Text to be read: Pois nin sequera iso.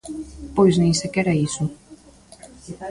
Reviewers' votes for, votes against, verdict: 0, 2, rejected